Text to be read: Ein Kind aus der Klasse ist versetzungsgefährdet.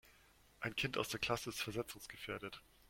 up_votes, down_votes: 2, 0